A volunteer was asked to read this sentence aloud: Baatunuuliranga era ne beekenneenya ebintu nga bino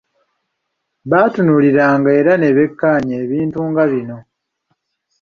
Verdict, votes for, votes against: accepted, 2, 0